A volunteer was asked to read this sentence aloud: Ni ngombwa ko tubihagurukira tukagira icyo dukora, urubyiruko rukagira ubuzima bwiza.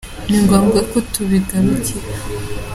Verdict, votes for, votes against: rejected, 0, 3